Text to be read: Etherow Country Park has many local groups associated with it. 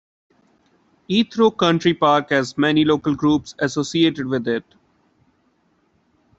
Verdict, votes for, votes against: accepted, 2, 0